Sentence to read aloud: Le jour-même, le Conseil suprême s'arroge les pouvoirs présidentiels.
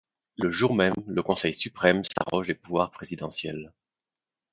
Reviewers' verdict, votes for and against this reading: rejected, 0, 2